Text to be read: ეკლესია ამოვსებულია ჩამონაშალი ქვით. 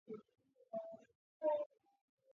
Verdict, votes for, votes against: rejected, 0, 2